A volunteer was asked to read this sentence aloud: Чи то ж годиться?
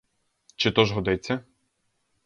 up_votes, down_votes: 2, 2